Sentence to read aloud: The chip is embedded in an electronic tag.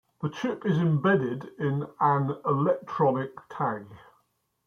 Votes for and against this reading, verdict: 2, 0, accepted